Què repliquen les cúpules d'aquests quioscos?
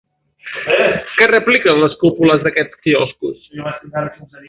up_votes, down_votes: 0, 2